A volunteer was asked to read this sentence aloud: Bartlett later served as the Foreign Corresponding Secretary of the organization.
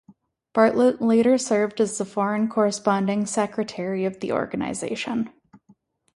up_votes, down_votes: 4, 0